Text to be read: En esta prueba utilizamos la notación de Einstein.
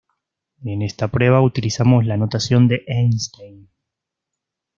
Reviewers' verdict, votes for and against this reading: accepted, 2, 1